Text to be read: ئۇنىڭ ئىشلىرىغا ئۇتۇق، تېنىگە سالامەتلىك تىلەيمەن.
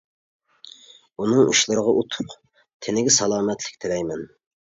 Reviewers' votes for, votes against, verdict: 2, 0, accepted